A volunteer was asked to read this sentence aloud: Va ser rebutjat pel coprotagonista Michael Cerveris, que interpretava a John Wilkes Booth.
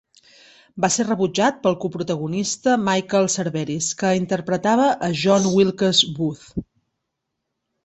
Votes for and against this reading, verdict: 4, 0, accepted